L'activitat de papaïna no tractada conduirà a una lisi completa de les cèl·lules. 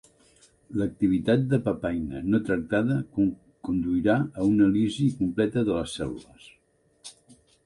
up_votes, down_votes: 0, 2